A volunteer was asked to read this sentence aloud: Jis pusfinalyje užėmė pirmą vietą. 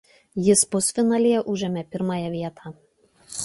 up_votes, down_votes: 0, 2